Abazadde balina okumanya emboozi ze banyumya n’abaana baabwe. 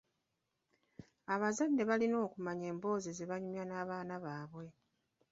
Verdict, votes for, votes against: rejected, 1, 2